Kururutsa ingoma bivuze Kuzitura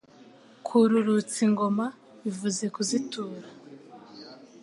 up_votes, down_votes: 3, 0